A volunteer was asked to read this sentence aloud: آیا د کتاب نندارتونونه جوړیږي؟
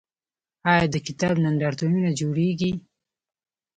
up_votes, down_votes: 2, 0